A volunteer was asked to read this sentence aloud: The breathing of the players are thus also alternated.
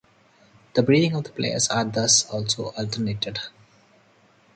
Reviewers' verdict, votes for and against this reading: accepted, 2, 0